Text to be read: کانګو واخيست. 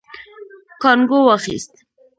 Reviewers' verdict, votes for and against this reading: rejected, 1, 2